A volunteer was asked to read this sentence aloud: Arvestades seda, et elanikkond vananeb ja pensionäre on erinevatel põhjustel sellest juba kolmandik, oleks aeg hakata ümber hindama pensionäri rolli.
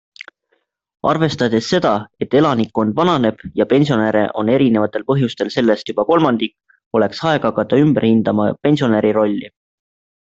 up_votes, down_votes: 2, 0